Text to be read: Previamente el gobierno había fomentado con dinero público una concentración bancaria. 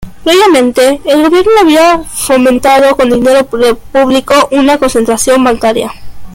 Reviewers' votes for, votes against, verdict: 2, 1, accepted